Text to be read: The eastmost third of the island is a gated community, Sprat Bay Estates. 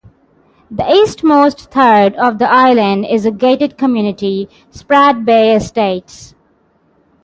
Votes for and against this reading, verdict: 6, 0, accepted